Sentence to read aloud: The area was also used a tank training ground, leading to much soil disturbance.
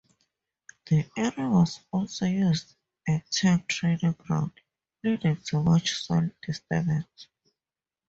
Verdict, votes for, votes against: accepted, 4, 0